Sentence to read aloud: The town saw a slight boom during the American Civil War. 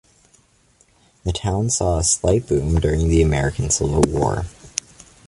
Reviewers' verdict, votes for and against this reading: accepted, 2, 0